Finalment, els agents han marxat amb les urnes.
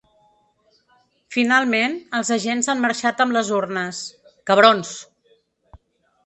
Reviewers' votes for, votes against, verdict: 1, 2, rejected